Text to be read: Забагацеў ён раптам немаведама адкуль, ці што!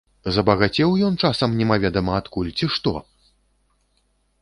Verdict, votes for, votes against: rejected, 0, 2